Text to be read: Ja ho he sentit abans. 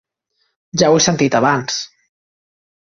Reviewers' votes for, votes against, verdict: 3, 0, accepted